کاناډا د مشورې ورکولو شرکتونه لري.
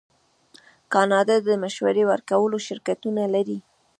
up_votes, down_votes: 1, 2